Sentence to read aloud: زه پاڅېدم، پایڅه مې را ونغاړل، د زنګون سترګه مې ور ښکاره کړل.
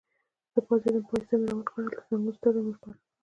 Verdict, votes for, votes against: accepted, 2, 1